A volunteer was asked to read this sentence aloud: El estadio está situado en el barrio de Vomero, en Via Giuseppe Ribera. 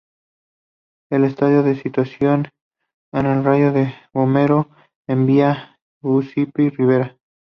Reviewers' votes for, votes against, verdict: 0, 2, rejected